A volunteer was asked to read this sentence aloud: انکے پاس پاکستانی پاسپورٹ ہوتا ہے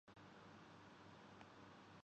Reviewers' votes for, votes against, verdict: 1, 2, rejected